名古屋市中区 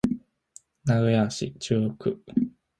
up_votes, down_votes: 1, 2